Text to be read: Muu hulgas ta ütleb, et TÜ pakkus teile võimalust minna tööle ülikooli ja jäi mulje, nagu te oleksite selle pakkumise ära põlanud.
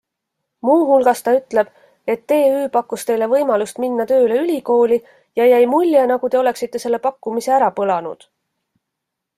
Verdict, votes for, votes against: accepted, 2, 0